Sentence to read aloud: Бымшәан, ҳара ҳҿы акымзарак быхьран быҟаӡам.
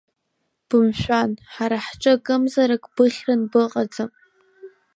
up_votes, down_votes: 2, 0